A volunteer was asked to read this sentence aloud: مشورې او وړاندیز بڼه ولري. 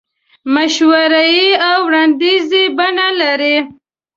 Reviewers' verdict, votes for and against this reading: rejected, 1, 2